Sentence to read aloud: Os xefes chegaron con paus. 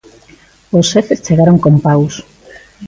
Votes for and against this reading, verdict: 2, 0, accepted